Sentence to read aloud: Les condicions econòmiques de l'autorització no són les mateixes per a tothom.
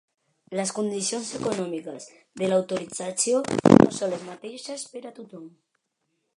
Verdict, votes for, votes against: rejected, 0, 2